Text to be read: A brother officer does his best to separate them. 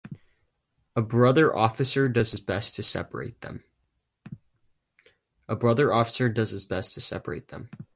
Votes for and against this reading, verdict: 2, 4, rejected